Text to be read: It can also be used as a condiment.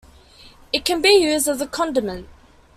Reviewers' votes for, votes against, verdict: 0, 2, rejected